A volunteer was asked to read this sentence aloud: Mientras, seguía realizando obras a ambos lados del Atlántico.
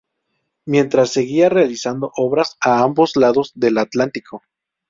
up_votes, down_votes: 2, 2